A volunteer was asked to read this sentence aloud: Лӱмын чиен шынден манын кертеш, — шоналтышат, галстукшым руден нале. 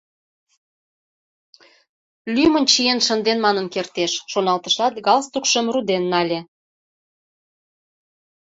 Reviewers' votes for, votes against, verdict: 2, 0, accepted